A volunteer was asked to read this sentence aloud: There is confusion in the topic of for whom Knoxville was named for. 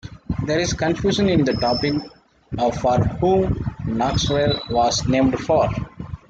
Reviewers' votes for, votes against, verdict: 2, 1, accepted